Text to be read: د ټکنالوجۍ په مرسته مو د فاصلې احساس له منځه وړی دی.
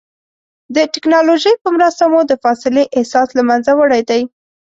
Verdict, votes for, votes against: accepted, 2, 0